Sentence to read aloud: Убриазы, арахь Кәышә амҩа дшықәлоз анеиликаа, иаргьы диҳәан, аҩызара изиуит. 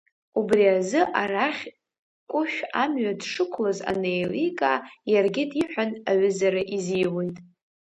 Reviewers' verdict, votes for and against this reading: accepted, 2, 0